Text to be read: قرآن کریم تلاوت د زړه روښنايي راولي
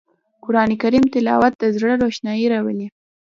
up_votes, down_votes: 2, 0